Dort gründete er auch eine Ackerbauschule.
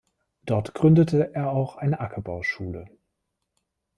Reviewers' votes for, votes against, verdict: 2, 0, accepted